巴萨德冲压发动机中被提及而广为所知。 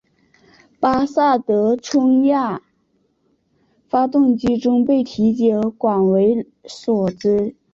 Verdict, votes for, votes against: rejected, 1, 2